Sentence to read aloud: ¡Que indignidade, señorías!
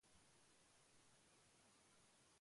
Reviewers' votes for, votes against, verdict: 0, 2, rejected